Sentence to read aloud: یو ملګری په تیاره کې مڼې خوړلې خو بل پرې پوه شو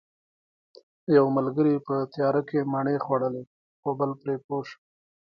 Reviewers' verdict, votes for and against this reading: rejected, 1, 2